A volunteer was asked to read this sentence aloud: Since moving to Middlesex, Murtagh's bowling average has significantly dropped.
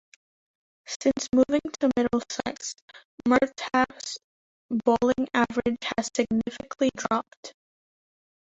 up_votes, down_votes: 0, 2